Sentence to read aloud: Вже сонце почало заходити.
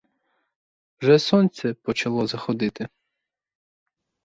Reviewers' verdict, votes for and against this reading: rejected, 0, 4